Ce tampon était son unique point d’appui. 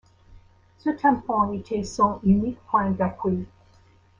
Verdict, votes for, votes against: accepted, 2, 0